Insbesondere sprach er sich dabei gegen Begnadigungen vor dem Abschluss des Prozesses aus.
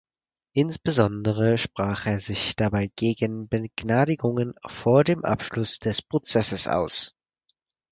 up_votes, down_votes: 0, 4